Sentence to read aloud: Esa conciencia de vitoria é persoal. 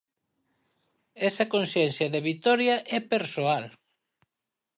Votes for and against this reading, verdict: 4, 0, accepted